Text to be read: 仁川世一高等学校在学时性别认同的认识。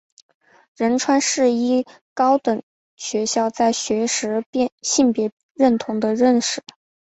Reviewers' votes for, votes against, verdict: 4, 0, accepted